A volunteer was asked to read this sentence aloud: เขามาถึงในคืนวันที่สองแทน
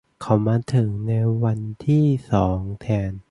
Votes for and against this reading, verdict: 0, 2, rejected